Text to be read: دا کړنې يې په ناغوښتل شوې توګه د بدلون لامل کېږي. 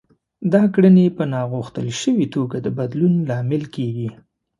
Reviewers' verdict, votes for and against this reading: accepted, 2, 0